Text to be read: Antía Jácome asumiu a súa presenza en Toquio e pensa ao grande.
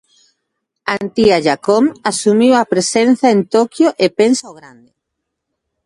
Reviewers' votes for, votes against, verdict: 0, 2, rejected